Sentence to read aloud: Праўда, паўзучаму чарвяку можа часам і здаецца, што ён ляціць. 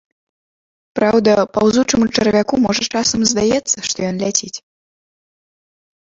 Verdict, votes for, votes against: rejected, 0, 2